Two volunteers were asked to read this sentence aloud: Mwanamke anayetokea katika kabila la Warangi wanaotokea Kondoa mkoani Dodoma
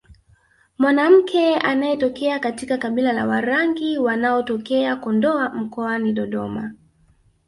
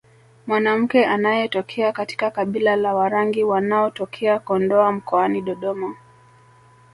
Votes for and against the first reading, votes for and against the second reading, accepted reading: 2, 1, 1, 2, first